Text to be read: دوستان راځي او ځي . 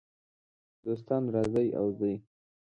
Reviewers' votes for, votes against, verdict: 2, 1, accepted